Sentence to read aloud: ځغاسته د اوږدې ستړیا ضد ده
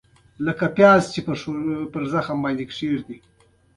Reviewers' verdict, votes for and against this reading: accepted, 2, 0